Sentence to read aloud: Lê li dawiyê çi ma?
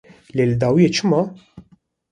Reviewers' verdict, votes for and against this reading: accepted, 2, 0